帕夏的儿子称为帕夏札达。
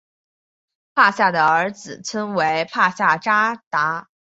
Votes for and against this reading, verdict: 5, 0, accepted